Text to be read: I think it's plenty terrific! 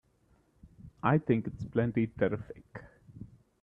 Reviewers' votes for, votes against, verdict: 2, 0, accepted